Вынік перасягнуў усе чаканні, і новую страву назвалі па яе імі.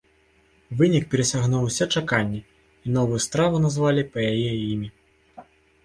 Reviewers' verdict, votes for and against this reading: accepted, 3, 0